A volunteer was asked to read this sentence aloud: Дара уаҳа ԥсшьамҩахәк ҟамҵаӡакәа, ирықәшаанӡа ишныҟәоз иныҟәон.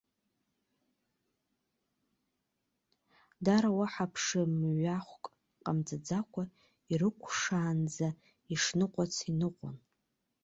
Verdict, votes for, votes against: rejected, 0, 2